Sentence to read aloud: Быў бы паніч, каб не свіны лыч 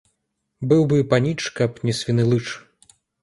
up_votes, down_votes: 2, 0